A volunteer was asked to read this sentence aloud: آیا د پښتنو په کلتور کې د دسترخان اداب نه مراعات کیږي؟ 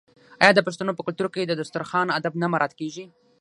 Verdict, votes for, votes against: rejected, 3, 6